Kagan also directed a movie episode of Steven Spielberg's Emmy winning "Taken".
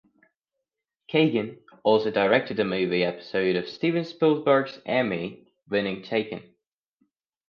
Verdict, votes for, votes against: accepted, 2, 0